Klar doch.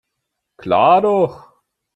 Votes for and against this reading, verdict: 3, 0, accepted